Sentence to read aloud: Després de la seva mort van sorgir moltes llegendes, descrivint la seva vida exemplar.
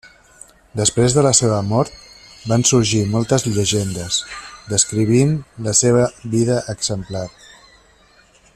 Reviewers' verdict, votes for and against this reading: accepted, 3, 0